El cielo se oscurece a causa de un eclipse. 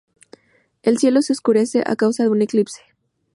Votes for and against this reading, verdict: 2, 0, accepted